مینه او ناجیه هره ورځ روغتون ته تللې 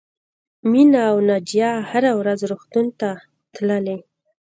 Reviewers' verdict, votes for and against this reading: rejected, 1, 2